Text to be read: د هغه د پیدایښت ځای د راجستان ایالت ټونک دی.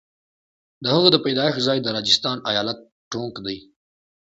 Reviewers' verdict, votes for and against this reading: accepted, 2, 0